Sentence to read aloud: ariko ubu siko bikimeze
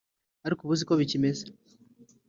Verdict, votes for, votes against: accepted, 2, 0